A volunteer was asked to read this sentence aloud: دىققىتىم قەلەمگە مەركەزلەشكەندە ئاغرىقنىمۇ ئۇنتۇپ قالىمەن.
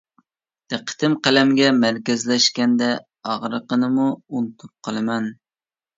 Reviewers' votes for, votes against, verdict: 1, 2, rejected